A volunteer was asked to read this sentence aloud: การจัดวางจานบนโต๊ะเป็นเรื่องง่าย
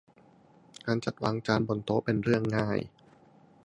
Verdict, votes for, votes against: accepted, 2, 0